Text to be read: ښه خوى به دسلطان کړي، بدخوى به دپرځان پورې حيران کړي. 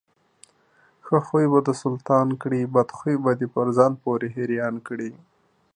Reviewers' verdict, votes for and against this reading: accepted, 2, 0